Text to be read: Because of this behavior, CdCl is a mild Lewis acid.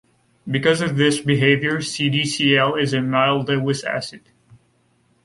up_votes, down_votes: 2, 0